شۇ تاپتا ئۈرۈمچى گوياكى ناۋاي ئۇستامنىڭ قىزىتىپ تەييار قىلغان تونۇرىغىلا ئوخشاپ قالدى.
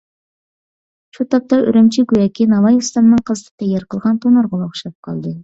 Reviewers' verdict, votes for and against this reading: accepted, 2, 0